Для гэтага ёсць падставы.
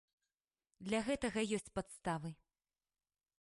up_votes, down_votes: 3, 0